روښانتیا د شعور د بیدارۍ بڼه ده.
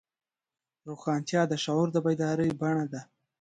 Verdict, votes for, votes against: rejected, 1, 2